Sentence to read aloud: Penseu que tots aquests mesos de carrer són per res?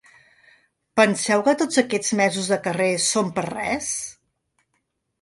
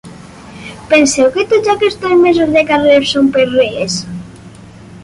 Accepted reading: first